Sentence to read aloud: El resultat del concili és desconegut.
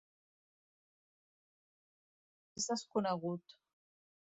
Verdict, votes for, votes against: rejected, 0, 2